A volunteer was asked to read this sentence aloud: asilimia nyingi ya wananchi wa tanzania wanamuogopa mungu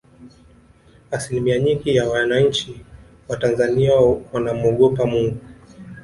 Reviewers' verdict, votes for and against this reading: accepted, 2, 1